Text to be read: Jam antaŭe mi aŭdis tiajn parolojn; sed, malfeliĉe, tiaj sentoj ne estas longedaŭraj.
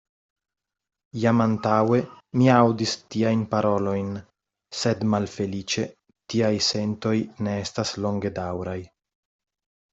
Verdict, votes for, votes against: accepted, 2, 0